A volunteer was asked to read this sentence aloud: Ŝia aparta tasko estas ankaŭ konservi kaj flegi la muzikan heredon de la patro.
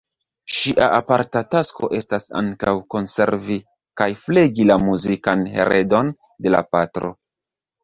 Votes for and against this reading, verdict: 0, 2, rejected